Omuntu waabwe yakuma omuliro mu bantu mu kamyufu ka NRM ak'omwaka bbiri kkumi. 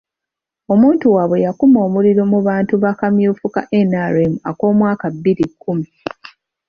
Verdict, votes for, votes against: rejected, 1, 3